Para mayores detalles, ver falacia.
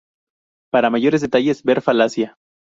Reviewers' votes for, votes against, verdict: 2, 0, accepted